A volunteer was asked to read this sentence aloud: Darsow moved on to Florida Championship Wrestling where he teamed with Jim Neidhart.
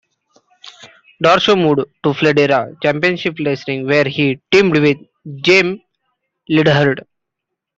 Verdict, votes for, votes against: accepted, 2, 1